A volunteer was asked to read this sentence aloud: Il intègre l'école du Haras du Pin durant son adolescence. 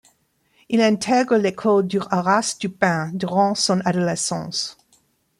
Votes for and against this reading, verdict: 1, 2, rejected